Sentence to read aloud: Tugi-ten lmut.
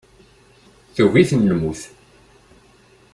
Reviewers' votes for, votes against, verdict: 2, 0, accepted